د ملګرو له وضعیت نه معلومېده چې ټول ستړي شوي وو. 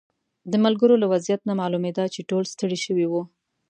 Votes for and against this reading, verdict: 2, 0, accepted